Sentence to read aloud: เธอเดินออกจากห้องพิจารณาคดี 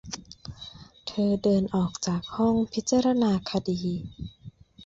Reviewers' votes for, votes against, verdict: 2, 0, accepted